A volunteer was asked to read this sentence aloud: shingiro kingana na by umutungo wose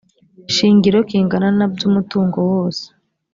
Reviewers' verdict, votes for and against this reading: accepted, 3, 0